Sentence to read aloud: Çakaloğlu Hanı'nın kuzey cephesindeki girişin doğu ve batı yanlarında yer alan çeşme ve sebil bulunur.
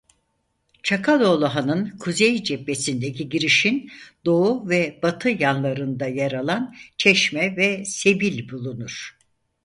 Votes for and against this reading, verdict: 2, 4, rejected